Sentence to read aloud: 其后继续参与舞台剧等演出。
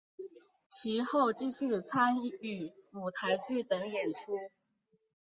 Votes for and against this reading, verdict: 2, 0, accepted